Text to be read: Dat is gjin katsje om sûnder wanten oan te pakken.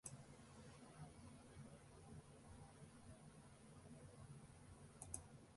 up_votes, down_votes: 0, 2